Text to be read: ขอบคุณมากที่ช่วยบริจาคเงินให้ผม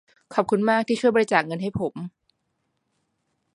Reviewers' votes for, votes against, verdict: 1, 2, rejected